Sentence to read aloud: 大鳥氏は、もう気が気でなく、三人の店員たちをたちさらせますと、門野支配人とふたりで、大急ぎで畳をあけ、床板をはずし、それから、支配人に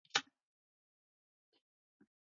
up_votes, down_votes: 0, 2